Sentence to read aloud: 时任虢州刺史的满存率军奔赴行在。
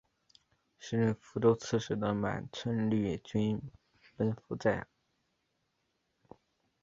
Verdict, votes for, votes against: accepted, 3, 0